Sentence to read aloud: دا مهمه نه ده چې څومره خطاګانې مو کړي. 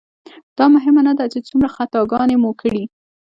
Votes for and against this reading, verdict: 1, 2, rejected